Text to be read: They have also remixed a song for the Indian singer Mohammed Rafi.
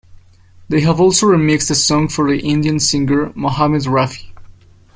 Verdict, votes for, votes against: accepted, 2, 0